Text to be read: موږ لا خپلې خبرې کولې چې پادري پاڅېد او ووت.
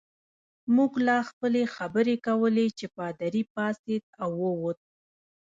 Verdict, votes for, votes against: rejected, 1, 2